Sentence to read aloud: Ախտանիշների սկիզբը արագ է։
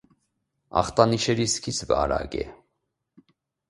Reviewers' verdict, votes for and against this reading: rejected, 0, 2